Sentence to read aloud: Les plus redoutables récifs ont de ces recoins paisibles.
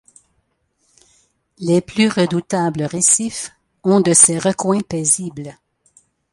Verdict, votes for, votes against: accepted, 2, 0